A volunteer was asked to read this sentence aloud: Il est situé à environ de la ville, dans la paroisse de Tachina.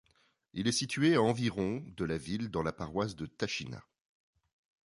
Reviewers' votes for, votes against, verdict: 2, 0, accepted